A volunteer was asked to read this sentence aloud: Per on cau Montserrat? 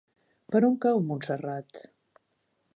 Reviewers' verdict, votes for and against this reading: accepted, 4, 0